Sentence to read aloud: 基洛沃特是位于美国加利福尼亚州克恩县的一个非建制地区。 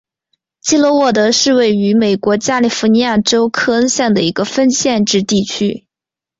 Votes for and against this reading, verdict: 2, 3, rejected